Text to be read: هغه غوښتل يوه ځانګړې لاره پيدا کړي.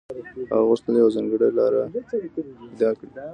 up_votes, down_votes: 2, 0